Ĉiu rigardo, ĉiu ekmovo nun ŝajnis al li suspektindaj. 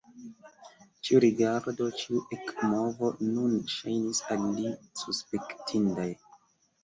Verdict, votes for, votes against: accepted, 2, 0